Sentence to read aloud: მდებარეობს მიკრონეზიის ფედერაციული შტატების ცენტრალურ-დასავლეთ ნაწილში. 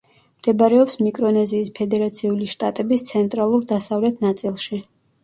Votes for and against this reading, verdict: 0, 2, rejected